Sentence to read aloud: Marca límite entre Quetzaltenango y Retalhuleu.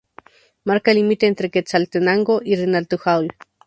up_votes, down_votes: 0, 2